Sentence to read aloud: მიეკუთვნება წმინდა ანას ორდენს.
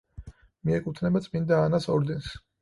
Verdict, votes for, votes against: accepted, 4, 0